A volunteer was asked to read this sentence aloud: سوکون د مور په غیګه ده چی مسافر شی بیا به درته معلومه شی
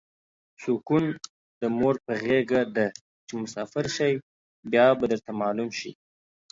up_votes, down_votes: 1, 2